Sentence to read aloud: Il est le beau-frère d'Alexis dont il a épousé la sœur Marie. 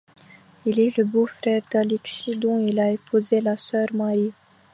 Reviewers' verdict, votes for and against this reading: accepted, 2, 0